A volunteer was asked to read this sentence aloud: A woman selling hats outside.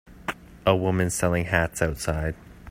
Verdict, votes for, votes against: accepted, 3, 0